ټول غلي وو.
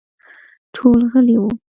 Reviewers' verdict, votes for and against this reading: accepted, 2, 0